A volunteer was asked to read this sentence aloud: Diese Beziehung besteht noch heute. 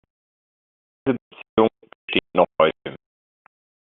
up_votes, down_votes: 0, 2